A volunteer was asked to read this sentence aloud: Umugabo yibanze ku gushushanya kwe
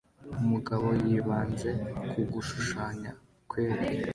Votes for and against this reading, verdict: 2, 0, accepted